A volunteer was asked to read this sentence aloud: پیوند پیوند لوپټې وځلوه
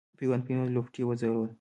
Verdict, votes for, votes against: accepted, 2, 1